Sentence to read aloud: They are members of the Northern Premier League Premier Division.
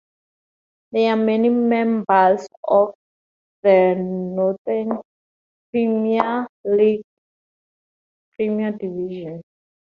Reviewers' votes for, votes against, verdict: 0, 2, rejected